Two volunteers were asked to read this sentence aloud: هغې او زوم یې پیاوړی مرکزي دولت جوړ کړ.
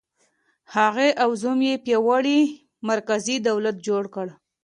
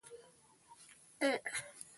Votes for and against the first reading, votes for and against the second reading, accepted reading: 2, 1, 0, 2, first